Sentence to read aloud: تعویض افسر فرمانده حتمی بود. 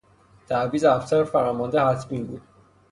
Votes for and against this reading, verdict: 3, 0, accepted